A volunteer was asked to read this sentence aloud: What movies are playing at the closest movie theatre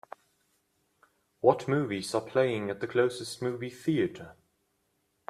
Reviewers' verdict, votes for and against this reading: accepted, 2, 0